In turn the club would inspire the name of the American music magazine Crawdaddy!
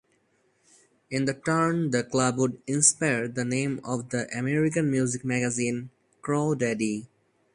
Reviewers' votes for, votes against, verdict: 2, 4, rejected